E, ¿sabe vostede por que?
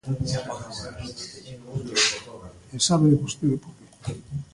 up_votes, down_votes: 0, 2